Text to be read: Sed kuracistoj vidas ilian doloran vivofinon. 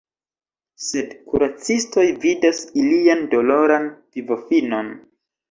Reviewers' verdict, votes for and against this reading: accepted, 2, 0